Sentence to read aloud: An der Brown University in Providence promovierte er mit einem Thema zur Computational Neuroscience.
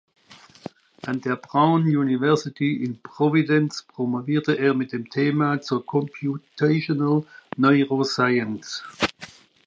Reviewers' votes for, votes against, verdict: 0, 2, rejected